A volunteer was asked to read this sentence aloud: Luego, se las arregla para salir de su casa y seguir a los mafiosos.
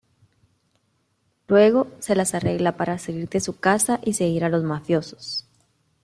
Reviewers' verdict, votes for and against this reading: accepted, 2, 0